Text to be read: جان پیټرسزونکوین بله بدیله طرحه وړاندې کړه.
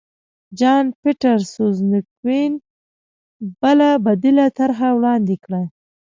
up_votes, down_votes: 2, 0